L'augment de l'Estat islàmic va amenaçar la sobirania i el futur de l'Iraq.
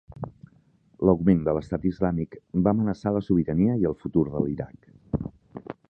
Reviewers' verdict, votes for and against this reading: accepted, 5, 0